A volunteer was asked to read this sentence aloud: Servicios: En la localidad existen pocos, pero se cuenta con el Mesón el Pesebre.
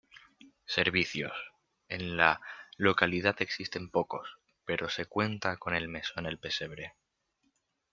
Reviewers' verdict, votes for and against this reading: accepted, 2, 0